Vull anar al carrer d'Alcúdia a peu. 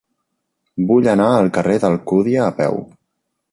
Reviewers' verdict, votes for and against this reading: accepted, 3, 0